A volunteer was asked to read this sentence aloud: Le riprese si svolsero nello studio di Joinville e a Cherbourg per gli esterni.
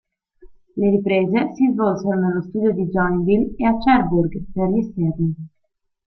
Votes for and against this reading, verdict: 1, 2, rejected